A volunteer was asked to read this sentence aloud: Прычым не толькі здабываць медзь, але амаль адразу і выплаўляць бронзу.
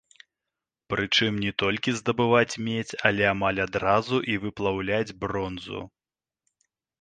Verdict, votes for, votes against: rejected, 1, 2